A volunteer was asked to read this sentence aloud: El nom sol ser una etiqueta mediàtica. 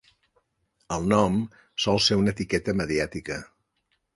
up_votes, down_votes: 3, 0